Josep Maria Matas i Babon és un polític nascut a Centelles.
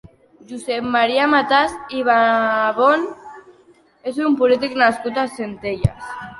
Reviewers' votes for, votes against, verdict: 2, 1, accepted